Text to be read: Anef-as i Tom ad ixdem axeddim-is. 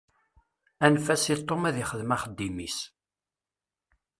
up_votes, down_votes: 2, 0